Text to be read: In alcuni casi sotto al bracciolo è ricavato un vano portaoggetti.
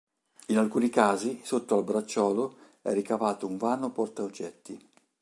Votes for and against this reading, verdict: 2, 0, accepted